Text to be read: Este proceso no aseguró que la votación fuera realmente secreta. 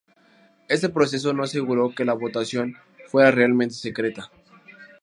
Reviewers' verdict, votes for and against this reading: accepted, 8, 0